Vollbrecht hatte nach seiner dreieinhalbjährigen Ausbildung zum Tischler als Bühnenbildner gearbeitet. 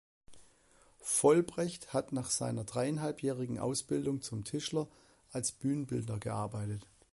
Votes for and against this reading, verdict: 2, 1, accepted